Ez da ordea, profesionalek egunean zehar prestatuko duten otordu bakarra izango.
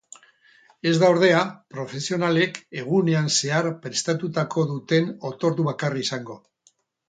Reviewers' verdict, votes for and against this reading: rejected, 2, 4